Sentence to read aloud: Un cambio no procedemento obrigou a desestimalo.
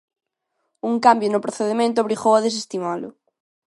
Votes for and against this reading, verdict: 2, 0, accepted